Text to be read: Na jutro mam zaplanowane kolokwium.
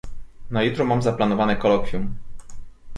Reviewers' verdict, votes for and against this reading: accepted, 2, 0